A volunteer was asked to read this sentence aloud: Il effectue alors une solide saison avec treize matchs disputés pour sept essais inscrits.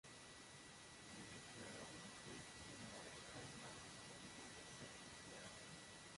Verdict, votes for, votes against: rejected, 0, 3